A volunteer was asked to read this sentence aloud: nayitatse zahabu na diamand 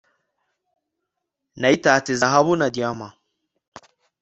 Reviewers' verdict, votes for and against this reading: accepted, 2, 0